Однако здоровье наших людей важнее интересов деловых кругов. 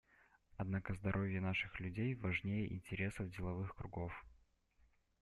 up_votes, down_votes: 2, 0